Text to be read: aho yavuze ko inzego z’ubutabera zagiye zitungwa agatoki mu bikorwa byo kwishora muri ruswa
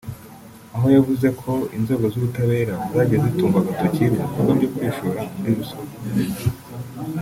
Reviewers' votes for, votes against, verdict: 2, 1, accepted